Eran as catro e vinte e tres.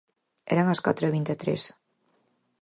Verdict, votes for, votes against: accepted, 4, 0